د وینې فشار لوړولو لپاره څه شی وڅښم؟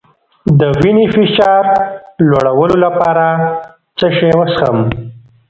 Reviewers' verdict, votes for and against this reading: rejected, 1, 2